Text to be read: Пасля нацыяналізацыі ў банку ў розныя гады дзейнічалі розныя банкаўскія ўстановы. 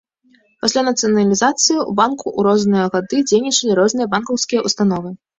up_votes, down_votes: 2, 0